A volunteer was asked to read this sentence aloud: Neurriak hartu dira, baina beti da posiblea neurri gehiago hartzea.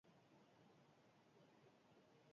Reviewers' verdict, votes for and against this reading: rejected, 2, 4